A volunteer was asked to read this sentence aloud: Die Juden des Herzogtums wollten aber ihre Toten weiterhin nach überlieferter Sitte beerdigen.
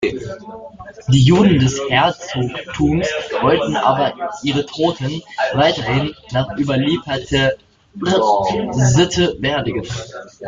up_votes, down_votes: 0, 2